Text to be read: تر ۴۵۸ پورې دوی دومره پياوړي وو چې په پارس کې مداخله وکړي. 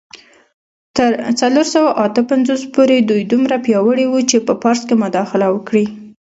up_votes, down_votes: 0, 2